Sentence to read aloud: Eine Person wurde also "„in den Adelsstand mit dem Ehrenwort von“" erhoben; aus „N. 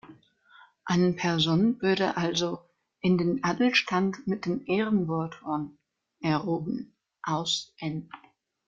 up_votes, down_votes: 0, 2